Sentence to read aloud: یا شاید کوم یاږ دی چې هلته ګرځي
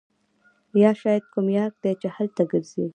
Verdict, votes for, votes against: rejected, 0, 2